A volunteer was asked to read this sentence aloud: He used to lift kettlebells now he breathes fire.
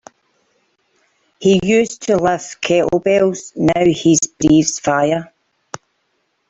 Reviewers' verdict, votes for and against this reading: rejected, 0, 2